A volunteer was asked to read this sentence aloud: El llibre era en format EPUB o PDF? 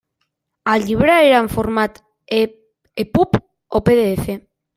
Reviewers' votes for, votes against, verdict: 1, 2, rejected